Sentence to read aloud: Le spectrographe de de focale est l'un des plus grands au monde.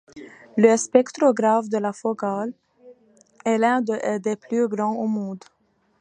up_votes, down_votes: 1, 2